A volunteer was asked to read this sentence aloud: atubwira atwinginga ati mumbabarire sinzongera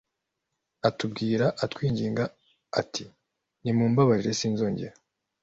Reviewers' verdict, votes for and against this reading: accepted, 2, 1